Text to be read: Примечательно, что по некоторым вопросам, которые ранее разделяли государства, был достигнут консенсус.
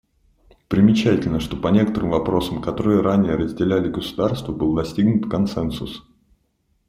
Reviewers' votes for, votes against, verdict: 2, 0, accepted